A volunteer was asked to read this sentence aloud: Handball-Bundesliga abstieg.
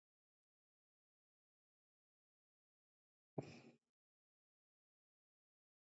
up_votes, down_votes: 0, 2